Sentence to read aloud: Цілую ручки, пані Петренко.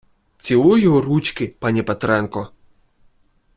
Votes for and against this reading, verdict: 2, 0, accepted